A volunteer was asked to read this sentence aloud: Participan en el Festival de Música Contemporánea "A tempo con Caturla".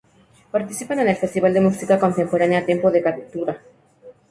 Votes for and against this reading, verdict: 0, 2, rejected